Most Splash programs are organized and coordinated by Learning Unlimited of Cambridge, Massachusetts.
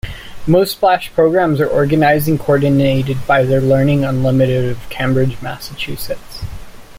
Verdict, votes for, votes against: rejected, 1, 2